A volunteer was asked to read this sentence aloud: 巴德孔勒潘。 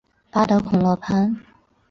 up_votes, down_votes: 2, 0